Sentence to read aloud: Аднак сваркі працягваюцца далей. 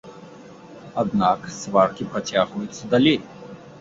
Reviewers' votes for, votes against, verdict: 2, 0, accepted